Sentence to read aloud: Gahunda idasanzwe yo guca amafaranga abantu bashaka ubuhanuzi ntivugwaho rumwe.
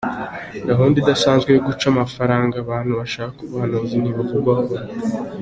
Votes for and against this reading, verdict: 2, 0, accepted